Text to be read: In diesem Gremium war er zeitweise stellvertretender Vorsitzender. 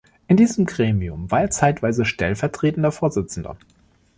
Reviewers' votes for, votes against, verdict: 2, 0, accepted